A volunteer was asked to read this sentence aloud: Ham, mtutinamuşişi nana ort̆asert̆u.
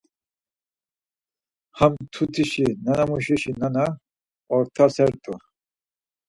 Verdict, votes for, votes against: rejected, 0, 4